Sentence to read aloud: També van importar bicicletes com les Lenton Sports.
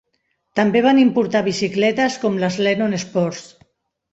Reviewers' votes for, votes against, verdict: 1, 2, rejected